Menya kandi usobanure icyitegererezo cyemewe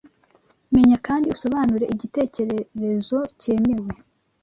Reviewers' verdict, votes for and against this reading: accepted, 2, 0